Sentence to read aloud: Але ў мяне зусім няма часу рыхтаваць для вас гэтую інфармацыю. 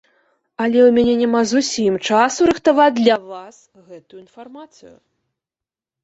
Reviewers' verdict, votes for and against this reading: rejected, 1, 2